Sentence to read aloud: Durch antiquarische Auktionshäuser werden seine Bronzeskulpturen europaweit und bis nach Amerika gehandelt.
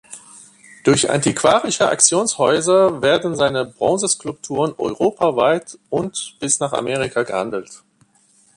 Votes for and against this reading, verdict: 1, 2, rejected